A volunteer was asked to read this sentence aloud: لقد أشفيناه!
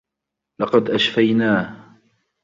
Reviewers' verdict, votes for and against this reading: accepted, 2, 0